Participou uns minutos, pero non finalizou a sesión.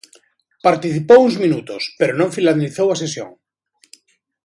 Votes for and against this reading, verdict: 0, 2, rejected